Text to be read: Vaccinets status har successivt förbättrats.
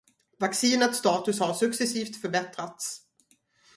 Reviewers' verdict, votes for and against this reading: accepted, 4, 0